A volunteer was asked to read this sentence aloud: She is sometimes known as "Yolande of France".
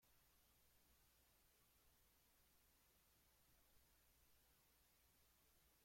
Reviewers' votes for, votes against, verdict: 0, 2, rejected